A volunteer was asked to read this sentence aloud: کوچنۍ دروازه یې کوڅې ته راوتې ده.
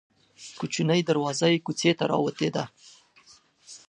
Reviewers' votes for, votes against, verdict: 2, 0, accepted